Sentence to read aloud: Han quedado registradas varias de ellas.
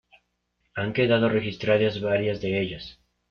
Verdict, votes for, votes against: accepted, 2, 0